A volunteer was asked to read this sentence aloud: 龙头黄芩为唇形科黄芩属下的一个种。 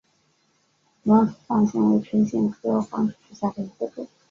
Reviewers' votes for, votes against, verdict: 2, 3, rejected